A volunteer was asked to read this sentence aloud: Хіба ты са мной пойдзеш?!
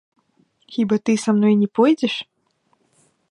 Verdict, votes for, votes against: rejected, 0, 2